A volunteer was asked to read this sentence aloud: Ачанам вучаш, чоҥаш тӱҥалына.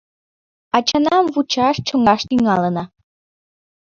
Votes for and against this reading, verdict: 1, 2, rejected